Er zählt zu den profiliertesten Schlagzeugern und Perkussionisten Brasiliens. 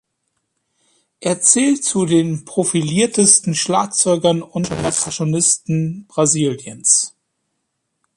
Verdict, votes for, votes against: rejected, 0, 2